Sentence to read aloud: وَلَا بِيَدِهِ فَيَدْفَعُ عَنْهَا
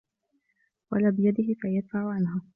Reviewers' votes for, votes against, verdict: 2, 0, accepted